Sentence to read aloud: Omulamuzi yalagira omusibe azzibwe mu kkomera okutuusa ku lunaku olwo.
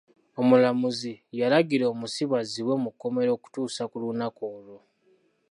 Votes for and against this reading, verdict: 2, 0, accepted